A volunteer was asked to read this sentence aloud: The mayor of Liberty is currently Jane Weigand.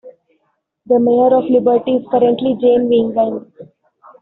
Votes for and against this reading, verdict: 0, 2, rejected